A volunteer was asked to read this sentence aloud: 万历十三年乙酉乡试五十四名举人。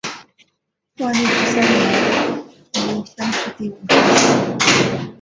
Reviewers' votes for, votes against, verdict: 2, 4, rejected